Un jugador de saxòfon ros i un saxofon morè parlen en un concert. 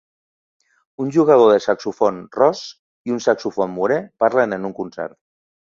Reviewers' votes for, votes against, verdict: 0, 2, rejected